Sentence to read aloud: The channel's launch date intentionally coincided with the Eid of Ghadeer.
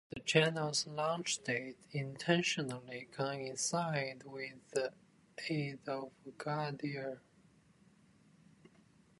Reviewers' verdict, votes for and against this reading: rejected, 1, 2